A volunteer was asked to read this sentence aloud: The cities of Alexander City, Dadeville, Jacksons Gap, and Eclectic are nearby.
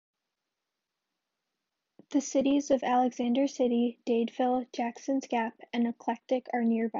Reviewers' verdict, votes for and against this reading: rejected, 0, 2